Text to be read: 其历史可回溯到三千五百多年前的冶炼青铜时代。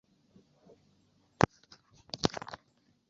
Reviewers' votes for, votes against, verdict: 0, 2, rejected